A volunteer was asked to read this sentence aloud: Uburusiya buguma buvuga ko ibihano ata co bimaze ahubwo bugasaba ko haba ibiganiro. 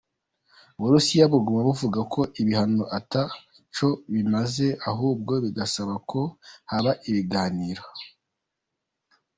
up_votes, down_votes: 0, 2